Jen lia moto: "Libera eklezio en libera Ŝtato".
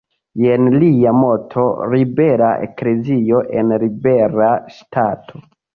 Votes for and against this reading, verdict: 1, 2, rejected